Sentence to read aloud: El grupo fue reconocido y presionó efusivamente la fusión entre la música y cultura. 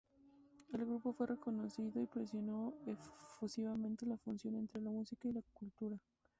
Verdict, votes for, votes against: rejected, 0, 2